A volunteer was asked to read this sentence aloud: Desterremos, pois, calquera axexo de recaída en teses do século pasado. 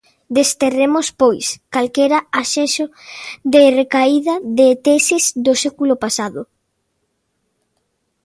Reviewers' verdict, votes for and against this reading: rejected, 0, 2